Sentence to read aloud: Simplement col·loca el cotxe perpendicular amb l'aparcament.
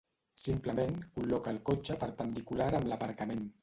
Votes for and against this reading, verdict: 2, 1, accepted